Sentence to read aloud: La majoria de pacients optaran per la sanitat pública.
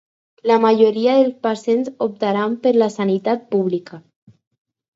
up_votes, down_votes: 4, 2